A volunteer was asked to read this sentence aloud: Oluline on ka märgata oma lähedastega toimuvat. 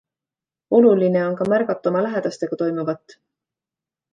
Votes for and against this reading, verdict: 2, 0, accepted